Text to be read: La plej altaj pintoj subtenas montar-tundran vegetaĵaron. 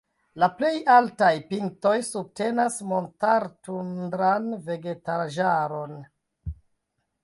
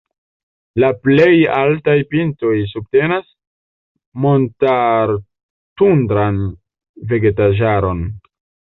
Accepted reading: second